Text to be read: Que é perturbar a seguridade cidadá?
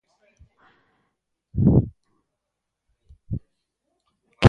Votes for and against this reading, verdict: 0, 2, rejected